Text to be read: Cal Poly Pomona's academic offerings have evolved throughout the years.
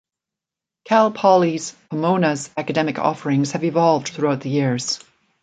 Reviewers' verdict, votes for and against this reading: accepted, 2, 0